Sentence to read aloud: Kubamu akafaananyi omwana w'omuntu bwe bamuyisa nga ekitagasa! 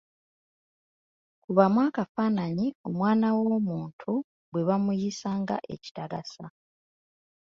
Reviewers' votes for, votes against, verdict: 2, 1, accepted